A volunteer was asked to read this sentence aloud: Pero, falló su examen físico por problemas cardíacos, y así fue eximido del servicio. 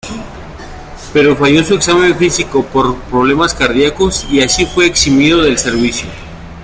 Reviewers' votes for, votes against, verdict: 1, 2, rejected